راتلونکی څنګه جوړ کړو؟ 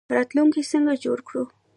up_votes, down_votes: 2, 0